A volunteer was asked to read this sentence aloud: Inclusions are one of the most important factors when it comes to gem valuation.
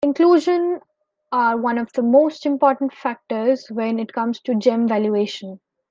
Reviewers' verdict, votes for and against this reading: rejected, 1, 2